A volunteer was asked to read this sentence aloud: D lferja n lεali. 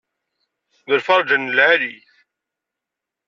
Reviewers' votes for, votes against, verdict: 2, 0, accepted